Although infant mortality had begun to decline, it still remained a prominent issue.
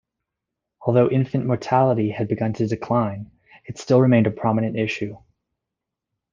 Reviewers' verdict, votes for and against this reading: accepted, 2, 0